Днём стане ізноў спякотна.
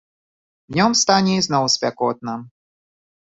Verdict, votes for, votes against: accepted, 2, 0